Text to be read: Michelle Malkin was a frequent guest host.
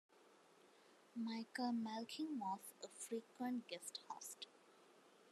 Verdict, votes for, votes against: rejected, 1, 2